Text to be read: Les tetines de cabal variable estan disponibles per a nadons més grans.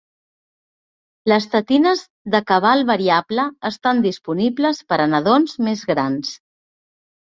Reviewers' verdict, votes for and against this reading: accepted, 2, 0